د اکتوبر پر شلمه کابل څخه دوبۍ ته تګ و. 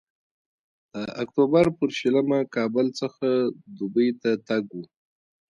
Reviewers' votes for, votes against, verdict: 2, 1, accepted